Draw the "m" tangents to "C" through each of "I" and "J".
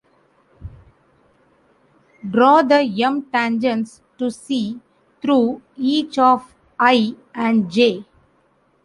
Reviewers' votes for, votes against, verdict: 2, 1, accepted